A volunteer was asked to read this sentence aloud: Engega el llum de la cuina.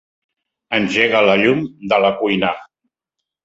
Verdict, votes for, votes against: rejected, 1, 2